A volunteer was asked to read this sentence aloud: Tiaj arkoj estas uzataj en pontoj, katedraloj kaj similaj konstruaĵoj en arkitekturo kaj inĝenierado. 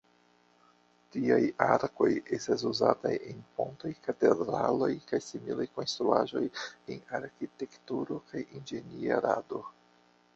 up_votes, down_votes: 1, 2